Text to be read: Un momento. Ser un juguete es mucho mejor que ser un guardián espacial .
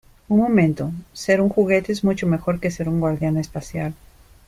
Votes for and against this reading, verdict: 2, 0, accepted